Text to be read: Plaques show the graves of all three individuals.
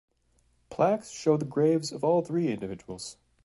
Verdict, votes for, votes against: accepted, 2, 0